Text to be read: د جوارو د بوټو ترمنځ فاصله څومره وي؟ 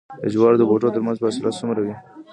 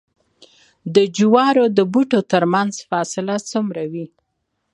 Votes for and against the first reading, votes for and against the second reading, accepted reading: 2, 1, 1, 2, first